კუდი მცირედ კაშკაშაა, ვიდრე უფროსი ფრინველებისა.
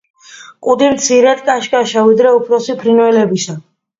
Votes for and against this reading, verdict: 2, 0, accepted